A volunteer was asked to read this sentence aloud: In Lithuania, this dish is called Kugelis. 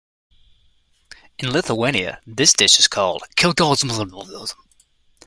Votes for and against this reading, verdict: 1, 2, rejected